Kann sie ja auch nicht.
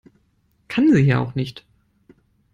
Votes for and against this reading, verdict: 2, 0, accepted